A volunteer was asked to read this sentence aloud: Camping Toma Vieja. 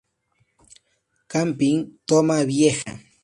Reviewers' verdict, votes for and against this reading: accepted, 2, 0